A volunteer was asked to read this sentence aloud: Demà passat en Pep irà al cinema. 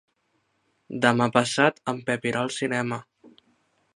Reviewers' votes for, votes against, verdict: 4, 0, accepted